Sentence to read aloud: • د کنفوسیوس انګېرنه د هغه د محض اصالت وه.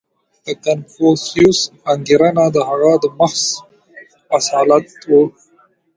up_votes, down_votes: 0, 3